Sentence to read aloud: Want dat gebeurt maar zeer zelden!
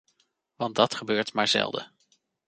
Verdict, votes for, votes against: rejected, 0, 2